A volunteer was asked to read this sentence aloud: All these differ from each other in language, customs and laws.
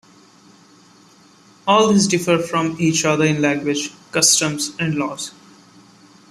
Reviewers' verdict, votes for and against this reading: accepted, 2, 0